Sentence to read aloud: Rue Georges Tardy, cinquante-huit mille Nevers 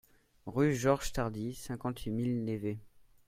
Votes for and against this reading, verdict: 0, 2, rejected